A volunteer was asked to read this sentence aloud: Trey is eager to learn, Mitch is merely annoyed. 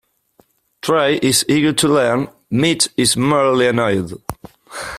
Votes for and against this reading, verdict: 3, 2, accepted